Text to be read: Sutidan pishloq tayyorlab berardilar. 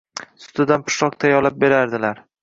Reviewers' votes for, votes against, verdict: 1, 2, rejected